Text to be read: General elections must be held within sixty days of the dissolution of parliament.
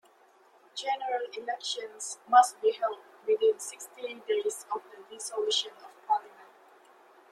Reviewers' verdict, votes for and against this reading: rejected, 1, 2